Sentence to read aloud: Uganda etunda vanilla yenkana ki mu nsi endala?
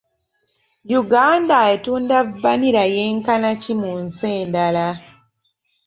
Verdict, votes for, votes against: accepted, 2, 0